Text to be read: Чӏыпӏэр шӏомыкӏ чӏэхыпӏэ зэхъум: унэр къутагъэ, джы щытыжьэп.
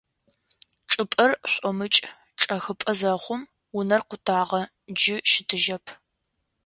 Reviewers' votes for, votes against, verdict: 2, 0, accepted